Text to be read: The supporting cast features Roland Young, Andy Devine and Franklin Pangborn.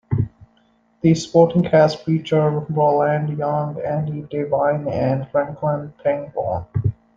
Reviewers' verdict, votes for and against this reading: rejected, 0, 2